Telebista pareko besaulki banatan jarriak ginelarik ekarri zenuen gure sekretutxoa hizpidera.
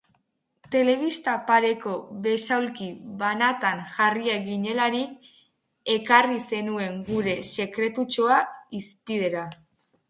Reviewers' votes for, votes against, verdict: 8, 0, accepted